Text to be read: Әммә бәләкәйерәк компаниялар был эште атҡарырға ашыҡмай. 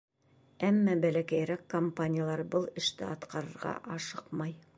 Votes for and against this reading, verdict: 2, 0, accepted